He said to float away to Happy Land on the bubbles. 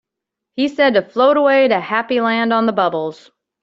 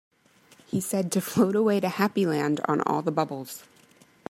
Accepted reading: first